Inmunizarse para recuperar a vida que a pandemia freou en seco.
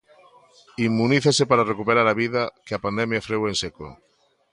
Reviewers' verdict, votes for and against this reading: rejected, 0, 2